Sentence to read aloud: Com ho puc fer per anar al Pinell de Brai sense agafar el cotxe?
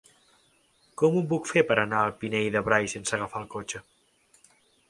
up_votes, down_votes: 3, 1